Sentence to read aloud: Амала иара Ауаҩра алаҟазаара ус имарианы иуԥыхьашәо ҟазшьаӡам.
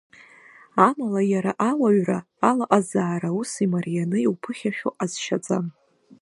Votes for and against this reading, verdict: 1, 2, rejected